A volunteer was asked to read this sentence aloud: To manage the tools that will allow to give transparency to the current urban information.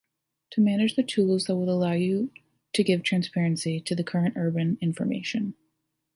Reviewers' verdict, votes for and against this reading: rejected, 0, 2